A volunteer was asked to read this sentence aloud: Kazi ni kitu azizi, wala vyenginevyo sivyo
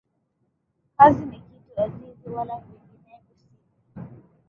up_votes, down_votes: 3, 4